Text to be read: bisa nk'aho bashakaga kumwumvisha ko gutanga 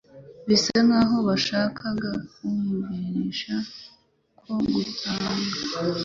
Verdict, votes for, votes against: rejected, 0, 2